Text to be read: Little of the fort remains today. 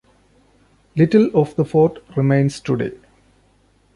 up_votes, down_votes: 2, 0